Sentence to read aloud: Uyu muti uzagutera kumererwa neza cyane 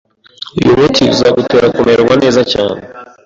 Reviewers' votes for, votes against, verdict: 1, 2, rejected